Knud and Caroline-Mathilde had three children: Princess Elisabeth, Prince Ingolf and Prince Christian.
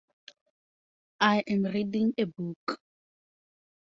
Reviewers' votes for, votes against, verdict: 0, 4, rejected